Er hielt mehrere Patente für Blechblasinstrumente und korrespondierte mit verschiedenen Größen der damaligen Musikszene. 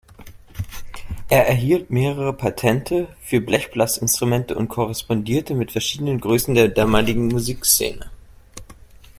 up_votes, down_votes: 0, 2